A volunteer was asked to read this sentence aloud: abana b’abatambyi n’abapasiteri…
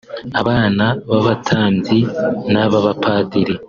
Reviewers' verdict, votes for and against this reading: accepted, 2, 1